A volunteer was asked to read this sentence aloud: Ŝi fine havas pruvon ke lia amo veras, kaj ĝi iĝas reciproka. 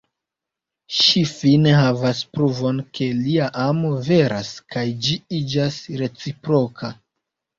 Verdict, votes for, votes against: accepted, 2, 1